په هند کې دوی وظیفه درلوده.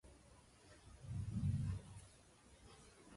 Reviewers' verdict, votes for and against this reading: rejected, 0, 2